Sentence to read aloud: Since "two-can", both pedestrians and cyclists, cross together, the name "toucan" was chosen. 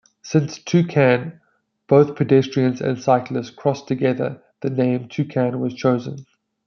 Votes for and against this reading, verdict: 2, 0, accepted